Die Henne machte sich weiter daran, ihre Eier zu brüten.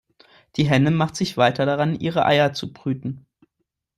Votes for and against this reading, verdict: 2, 0, accepted